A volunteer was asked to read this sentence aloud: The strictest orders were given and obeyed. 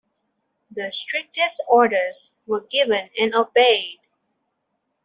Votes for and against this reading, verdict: 2, 0, accepted